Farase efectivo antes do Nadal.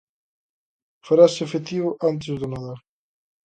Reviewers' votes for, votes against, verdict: 2, 0, accepted